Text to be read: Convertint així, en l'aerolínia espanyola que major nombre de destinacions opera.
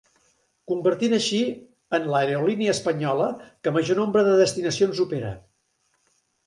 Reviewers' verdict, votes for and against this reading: accepted, 2, 0